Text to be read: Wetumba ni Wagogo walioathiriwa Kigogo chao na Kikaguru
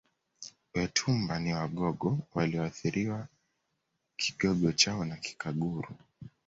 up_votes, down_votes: 2, 1